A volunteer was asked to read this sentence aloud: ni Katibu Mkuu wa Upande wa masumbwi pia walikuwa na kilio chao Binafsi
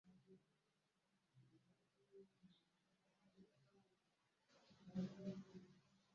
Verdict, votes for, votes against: rejected, 0, 2